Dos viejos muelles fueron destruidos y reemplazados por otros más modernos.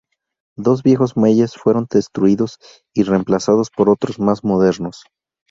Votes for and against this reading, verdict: 0, 2, rejected